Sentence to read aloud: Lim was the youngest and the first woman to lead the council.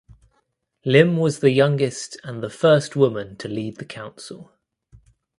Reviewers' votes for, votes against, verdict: 2, 0, accepted